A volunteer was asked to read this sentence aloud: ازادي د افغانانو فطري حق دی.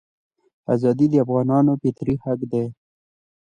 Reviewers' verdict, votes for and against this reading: accepted, 2, 0